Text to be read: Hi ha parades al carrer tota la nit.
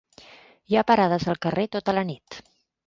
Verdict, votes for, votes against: accepted, 3, 0